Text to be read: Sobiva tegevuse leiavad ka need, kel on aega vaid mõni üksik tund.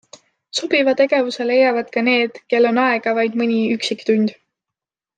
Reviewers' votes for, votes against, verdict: 2, 0, accepted